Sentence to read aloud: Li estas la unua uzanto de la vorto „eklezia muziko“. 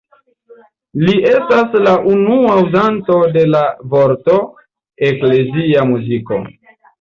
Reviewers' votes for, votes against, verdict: 2, 0, accepted